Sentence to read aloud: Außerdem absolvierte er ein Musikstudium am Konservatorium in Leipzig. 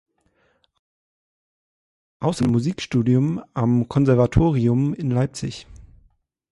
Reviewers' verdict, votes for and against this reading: rejected, 0, 2